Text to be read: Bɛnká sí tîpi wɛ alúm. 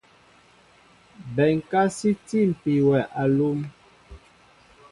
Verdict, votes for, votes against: accepted, 2, 0